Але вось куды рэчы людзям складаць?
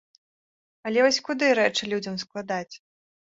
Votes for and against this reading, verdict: 2, 0, accepted